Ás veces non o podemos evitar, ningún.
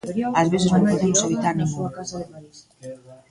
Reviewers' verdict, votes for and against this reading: rejected, 1, 2